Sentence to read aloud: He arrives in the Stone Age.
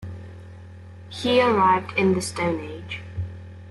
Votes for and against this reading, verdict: 1, 2, rejected